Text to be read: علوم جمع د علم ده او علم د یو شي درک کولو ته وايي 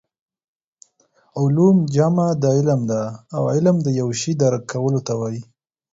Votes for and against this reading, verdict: 4, 0, accepted